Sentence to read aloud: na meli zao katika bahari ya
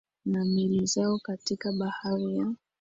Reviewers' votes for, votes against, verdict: 5, 0, accepted